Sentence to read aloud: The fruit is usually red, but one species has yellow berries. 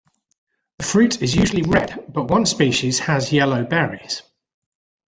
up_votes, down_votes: 2, 0